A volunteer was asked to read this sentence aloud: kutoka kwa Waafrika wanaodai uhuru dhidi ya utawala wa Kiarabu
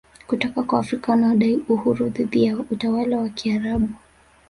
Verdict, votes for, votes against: accepted, 4, 1